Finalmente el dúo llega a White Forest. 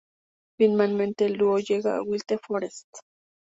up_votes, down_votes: 2, 0